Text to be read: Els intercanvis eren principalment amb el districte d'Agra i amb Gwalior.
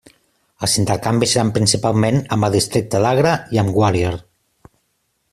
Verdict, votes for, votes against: rejected, 0, 2